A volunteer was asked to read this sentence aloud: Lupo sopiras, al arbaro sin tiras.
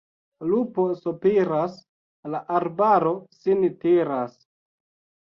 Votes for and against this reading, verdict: 1, 2, rejected